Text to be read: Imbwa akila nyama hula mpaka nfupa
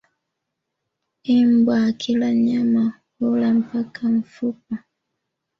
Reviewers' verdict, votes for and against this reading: accepted, 2, 0